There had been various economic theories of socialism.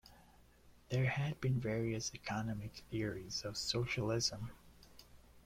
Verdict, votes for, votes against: accepted, 3, 2